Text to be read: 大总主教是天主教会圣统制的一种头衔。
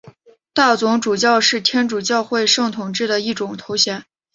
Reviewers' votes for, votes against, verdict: 5, 1, accepted